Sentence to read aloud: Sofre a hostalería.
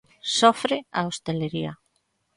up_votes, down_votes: 0, 2